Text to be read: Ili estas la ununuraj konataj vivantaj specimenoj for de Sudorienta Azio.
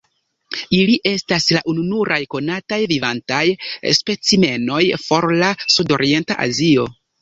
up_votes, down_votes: 1, 2